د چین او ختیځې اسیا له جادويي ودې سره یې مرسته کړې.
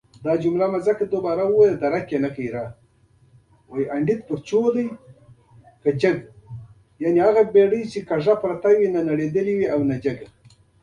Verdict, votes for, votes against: rejected, 0, 2